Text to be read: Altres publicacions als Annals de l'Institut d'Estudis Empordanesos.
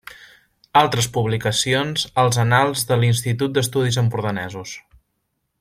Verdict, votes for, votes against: accepted, 2, 0